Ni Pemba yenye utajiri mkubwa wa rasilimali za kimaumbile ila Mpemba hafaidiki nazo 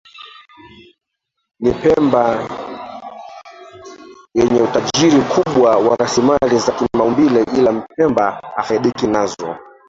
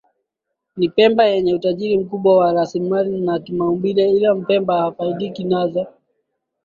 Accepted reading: second